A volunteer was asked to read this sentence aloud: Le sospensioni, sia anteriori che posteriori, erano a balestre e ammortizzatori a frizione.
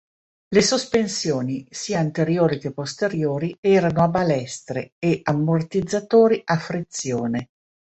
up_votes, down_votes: 2, 0